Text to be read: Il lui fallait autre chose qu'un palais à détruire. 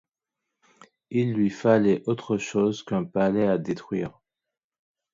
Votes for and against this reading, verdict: 2, 1, accepted